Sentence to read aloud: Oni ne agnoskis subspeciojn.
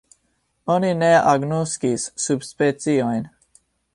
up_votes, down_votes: 3, 0